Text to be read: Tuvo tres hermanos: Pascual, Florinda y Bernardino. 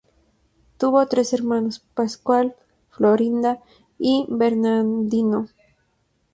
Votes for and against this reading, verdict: 4, 0, accepted